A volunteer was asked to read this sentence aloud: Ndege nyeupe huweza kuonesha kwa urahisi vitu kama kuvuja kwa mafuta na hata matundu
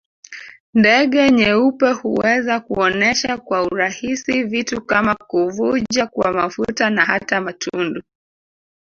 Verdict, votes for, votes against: accepted, 2, 1